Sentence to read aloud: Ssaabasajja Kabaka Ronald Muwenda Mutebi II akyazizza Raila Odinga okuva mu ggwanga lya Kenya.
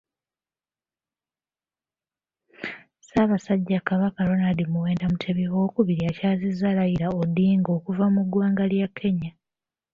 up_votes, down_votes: 2, 0